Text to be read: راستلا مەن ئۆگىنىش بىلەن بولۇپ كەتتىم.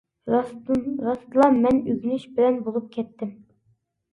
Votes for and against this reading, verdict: 0, 2, rejected